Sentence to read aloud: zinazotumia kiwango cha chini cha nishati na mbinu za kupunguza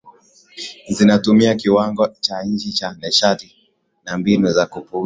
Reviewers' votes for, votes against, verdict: 0, 2, rejected